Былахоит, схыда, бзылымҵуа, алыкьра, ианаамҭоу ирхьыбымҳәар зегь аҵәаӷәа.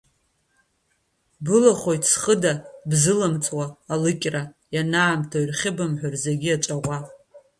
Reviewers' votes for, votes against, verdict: 1, 2, rejected